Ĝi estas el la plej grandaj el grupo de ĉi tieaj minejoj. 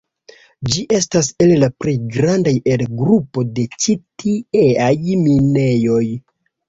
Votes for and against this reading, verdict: 2, 1, accepted